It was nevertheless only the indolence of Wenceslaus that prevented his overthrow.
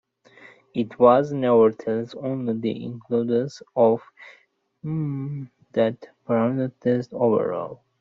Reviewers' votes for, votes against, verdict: 0, 2, rejected